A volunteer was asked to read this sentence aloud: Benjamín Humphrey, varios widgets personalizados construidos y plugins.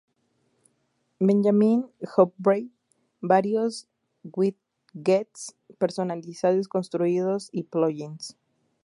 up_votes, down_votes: 0, 2